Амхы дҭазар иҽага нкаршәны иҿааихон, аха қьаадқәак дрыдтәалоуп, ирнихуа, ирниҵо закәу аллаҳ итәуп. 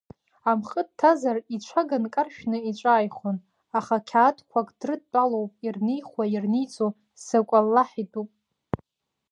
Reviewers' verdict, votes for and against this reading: rejected, 0, 2